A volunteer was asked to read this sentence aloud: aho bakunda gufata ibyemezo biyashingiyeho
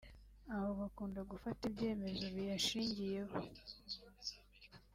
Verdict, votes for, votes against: accepted, 2, 0